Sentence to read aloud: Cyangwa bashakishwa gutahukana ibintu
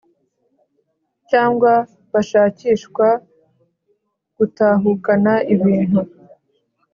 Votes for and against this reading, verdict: 4, 0, accepted